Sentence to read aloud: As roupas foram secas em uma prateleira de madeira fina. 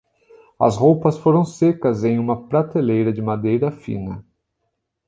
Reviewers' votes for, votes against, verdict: 3, 0, accepted